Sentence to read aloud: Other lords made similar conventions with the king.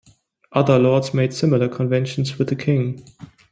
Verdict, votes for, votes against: accepted, 2, 0